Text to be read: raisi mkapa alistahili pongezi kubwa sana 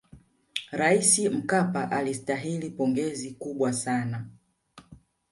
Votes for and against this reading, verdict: 2, 0, accepted